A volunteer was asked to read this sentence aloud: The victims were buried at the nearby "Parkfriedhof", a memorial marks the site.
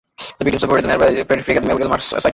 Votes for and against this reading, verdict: 0, 2, rejected